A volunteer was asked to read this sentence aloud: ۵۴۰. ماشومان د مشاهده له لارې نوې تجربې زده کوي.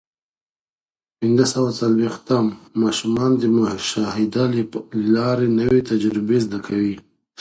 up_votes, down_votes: 0, 2